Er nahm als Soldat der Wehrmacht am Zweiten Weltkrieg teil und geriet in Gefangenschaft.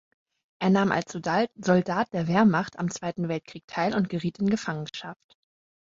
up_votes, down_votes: 0, 2